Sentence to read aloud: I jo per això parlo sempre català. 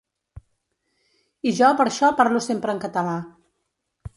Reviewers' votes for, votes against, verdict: 1, 2, rejected